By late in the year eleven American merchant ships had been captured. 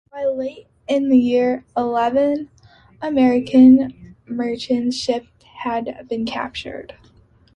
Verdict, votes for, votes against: accepted, 2, 0